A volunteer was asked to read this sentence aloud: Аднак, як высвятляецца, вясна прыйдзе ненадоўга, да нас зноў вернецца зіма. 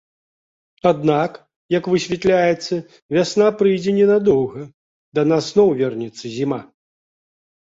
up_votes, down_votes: 2, 0